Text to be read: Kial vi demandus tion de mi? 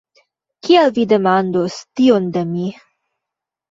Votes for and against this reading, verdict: 1, 2, rejected